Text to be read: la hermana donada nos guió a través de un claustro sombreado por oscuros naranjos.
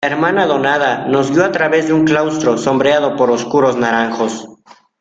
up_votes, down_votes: 0, 2